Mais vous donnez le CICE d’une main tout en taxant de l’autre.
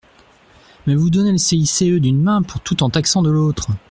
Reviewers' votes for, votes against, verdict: 1, 2, rejected